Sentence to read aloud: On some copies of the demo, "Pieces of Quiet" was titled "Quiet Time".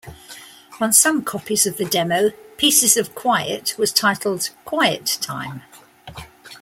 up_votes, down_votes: 2, 0